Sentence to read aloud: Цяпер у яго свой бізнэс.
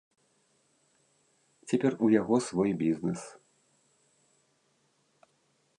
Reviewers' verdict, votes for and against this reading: accepted, 2, 0